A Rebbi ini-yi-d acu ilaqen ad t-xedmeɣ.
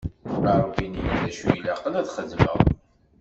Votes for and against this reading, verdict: 0, 2, rejected